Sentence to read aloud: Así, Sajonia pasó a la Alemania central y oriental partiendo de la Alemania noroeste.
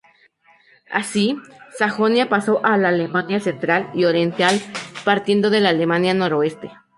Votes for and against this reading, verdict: 2, 2, rejected